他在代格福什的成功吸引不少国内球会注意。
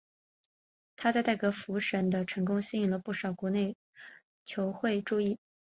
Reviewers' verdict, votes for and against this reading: accepted, 4, 0